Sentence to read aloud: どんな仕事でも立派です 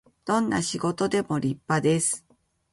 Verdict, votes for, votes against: accepted, 2, 0